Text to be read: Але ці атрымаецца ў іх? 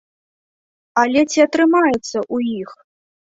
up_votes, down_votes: 2, 0